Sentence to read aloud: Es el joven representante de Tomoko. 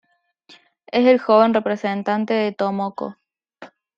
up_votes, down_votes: 2, 0